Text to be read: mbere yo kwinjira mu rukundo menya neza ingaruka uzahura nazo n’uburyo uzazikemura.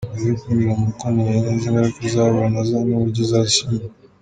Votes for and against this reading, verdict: 0, 2, rejected